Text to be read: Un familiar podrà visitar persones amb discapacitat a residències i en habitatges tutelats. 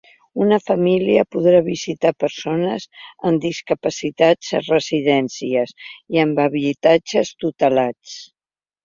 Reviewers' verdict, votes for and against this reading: rejected, 0, 2